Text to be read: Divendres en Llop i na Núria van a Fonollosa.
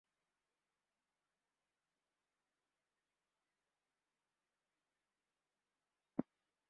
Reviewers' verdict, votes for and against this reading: rejected, 0, 2